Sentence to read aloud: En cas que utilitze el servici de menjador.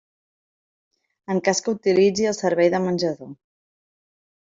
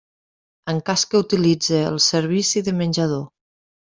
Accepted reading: second